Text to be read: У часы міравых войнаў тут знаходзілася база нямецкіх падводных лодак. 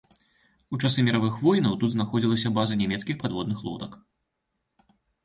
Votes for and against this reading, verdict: 2, 0, accepted